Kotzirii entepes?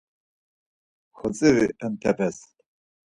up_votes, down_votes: 2, 4